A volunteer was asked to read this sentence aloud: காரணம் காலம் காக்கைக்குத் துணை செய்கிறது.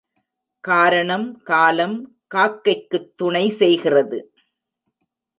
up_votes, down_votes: 2, 0